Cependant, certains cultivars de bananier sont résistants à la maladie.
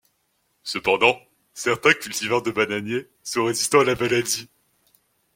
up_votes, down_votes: 0, 2